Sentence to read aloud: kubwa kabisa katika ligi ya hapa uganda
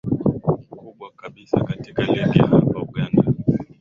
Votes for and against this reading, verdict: 2, 5, rejected